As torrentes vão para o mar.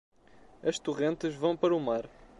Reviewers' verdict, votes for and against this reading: accepted, 2, 0